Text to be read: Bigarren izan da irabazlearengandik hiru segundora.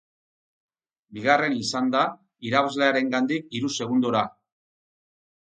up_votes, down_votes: 6, 0